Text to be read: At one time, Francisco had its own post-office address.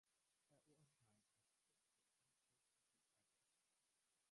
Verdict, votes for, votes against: rejected, 0, 2